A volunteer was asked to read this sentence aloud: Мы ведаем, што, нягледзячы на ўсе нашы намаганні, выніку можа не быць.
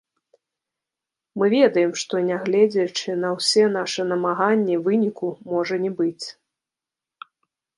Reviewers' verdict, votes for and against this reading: rejected, 1, 3